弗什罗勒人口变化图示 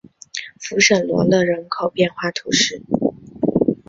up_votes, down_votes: 2, 0